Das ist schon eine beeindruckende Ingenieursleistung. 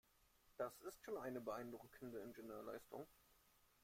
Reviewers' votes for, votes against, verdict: 0, 2, rejected